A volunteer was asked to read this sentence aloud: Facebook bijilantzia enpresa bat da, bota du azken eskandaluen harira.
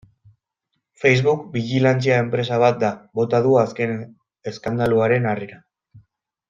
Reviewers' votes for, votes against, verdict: 0, 2, rejected